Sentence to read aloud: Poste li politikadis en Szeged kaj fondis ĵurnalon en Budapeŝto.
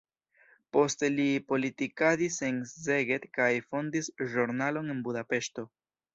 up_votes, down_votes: 0, 2